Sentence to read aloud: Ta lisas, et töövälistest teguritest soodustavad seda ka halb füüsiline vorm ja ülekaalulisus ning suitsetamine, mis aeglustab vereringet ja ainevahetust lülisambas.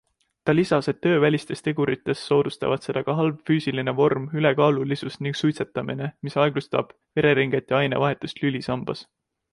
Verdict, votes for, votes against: rejected, 1, 2